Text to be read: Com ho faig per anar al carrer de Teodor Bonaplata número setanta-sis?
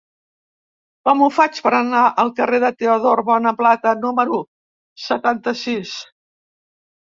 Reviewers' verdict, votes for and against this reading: accepted, 2, 0